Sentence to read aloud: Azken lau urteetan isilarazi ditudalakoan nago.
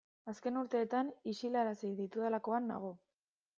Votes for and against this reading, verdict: 1, 2, rejected